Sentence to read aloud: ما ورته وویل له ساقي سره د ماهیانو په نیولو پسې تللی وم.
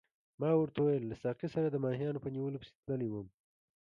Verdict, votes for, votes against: accepted, 2, 0